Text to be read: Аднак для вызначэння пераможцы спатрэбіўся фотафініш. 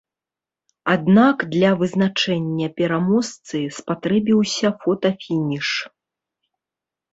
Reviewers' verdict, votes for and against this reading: rejected, 1, 2